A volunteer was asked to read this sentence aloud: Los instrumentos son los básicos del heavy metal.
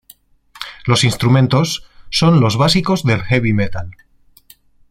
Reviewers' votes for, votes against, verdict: 2, 0, accepted